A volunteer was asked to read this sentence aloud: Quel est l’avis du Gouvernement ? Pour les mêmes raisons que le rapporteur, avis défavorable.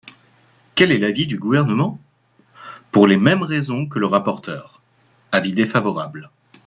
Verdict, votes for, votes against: accepted, 2, 0